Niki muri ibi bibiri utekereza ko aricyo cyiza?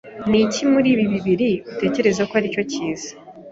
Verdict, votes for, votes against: accepted, 2, 0